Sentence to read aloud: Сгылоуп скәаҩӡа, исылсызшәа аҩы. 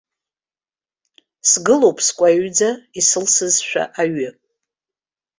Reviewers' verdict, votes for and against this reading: accepted, 2, 1